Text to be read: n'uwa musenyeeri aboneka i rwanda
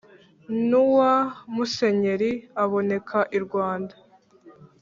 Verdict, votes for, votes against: accepted, 2, 0